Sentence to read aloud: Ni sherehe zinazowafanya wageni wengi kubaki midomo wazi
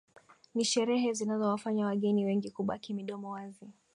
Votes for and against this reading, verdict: 2, 1, accepted